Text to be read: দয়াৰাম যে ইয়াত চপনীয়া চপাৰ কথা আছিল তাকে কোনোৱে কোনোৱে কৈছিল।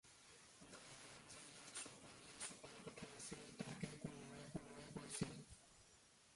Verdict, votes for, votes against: rejected, 0, 2